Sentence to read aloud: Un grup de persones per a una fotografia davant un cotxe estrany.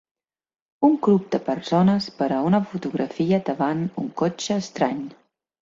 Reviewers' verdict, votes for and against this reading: accepted, 2, 0